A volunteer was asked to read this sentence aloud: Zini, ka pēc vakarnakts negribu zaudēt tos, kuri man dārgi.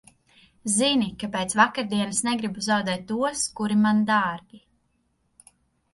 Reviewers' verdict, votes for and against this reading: rejected, 0, 2